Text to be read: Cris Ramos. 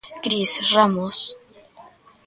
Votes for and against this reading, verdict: 2, 0, accepted